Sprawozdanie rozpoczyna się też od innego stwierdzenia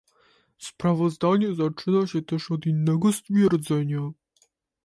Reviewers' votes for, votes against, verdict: 0, 2, rejected